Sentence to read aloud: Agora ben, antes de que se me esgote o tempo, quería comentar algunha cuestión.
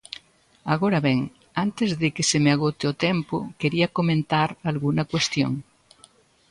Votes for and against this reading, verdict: 0, 3, rejected